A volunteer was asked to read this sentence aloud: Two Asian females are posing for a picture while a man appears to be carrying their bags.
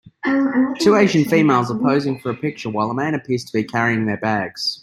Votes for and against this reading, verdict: 2, 1, accepted